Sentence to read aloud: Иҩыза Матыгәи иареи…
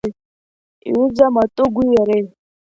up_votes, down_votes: 1, 2